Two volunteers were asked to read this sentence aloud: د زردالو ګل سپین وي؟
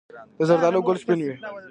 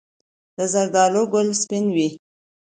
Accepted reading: second